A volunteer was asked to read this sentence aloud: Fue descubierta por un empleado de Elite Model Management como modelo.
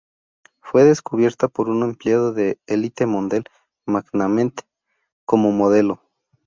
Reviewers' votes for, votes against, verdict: 0, 2, rejected